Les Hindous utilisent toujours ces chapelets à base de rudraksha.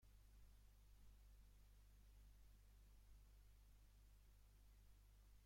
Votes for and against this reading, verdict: 0, 2, rejected